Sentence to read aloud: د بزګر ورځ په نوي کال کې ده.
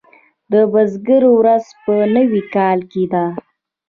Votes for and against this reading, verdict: 0, 2, rejected